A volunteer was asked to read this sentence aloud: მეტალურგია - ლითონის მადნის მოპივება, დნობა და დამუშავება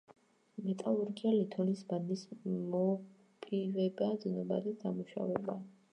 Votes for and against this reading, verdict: 1, 2, rejected